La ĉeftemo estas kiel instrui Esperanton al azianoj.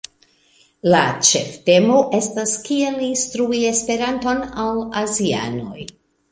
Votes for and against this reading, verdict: 2, 0, accepted